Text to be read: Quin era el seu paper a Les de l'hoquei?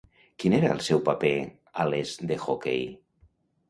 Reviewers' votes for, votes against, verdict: 1, 2, rejected